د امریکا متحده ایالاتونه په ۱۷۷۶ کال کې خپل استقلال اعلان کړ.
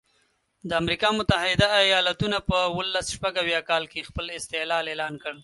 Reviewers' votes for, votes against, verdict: 0, 2, rejected